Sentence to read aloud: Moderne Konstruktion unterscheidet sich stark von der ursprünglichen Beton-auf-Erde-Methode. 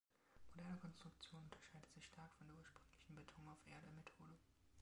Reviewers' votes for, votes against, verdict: 0, 3, rejected